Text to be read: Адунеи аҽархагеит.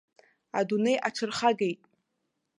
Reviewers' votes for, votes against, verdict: 2, 0, accepted